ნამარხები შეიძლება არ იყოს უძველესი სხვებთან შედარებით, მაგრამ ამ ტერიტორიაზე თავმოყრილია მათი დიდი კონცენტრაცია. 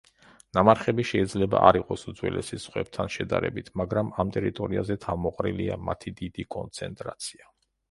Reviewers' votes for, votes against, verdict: 2, 0, accepted